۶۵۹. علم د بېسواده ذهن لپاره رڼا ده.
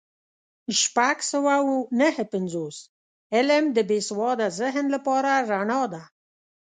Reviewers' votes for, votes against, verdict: 0, 2, rejected